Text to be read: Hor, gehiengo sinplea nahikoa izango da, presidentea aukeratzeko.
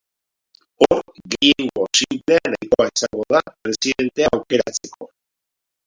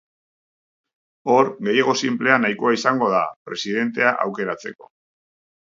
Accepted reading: second